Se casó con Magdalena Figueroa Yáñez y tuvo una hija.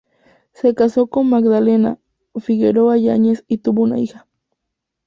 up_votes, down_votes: 4, 0